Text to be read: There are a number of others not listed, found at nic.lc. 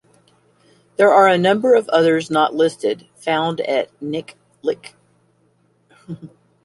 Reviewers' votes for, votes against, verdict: 2, 0, accepted